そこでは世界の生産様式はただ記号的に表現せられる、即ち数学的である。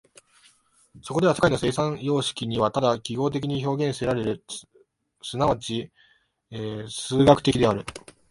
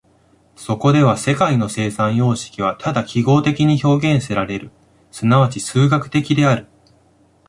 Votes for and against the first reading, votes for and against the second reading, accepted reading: 2, 3, 2, 0, second